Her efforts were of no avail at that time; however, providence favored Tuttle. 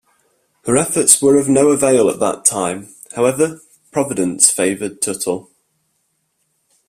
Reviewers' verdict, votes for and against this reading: accepted, 2, 0